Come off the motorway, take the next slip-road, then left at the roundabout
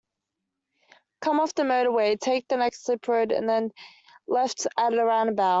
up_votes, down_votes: 0, 2